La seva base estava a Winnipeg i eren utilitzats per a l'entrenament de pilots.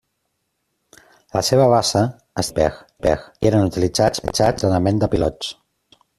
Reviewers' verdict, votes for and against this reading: rejected, 0, 2